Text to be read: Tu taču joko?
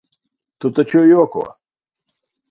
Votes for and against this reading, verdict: 6, 2, accepted